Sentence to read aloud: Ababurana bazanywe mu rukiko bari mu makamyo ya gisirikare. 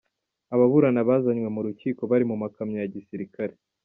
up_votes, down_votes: 2, 0